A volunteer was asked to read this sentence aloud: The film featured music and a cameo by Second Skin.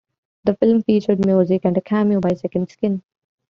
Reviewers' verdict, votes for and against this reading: rejected, 1, 2